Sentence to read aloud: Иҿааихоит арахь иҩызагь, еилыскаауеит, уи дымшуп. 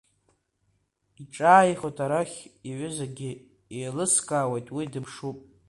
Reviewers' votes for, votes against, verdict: 1, 2, rejected